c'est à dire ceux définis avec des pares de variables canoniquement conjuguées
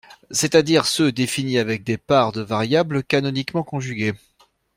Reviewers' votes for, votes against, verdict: 2, 0, accepted